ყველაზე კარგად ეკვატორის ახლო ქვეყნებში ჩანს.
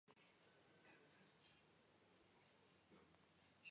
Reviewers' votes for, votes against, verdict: 1, 2, rejected